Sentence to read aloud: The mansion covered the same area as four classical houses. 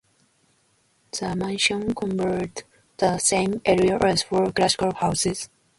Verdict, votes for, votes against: rejected, 0, 2